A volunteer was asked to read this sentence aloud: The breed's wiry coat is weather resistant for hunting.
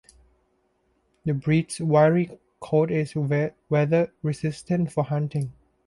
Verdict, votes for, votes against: rejected, 1, 2